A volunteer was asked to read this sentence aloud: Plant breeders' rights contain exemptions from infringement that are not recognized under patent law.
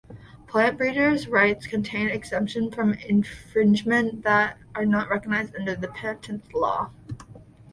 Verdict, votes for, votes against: accepted, 2, 1